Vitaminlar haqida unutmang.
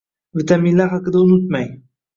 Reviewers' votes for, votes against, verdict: 2, 0, accepted